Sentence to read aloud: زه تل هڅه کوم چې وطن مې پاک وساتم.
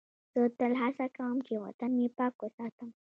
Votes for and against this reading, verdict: 1, 2, rejected